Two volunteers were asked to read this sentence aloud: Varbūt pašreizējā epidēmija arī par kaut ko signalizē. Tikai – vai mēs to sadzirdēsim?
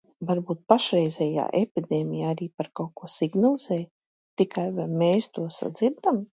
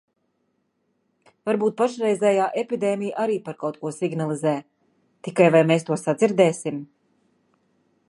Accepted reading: second